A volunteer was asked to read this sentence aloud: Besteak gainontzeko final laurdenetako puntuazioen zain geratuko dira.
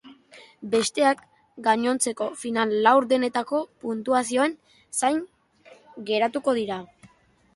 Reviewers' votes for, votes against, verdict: 2, 0, accepted